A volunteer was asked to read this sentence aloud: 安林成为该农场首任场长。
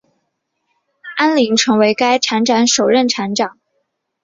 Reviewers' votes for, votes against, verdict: 0, 2, rejected